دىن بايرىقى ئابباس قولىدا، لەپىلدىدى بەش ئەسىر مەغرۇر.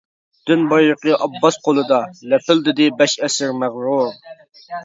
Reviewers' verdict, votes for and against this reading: accepted, 2, 0